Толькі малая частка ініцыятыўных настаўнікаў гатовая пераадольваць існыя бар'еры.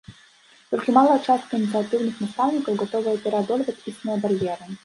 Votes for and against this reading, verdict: 2, 1, accepted